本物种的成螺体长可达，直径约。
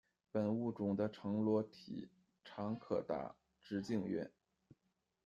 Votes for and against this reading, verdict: 2, 0, accepted